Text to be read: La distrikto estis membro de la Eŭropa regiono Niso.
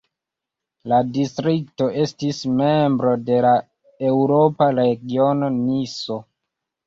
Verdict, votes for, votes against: accepted, 2, 0